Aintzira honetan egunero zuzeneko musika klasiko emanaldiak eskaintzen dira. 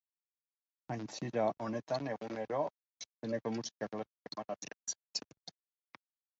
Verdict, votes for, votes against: rejected, 0, 2